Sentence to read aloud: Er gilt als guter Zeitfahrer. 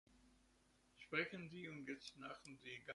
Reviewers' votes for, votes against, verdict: 0, 2, rejected